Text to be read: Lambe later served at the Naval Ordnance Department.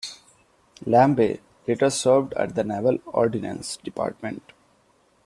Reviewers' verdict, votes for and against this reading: rejected, 0, 2